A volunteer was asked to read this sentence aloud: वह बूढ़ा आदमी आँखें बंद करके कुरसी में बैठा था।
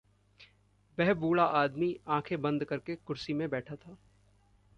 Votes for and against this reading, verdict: 2, 0, accepted